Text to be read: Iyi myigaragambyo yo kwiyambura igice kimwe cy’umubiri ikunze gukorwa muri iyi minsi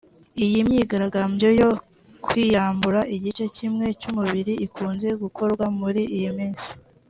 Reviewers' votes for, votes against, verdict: 2, 0, accepted